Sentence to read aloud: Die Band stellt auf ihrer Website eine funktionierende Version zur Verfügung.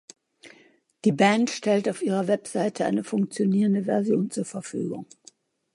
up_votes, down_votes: 1, 2